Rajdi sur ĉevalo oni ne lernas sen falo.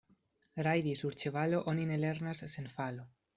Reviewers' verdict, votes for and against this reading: rejected, 0, 2